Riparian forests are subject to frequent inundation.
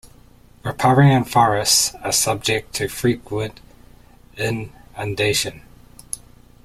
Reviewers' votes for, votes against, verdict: 0, 2, rejected